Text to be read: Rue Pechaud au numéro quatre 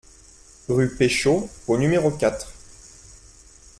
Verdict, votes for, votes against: accepted, 2, 0